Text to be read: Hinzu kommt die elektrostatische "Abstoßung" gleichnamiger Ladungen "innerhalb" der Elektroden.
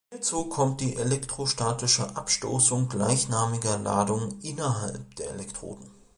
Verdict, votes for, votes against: rejected, 0, 2